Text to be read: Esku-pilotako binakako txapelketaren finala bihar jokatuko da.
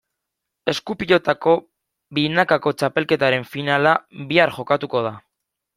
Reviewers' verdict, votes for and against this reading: accepted, 2, 0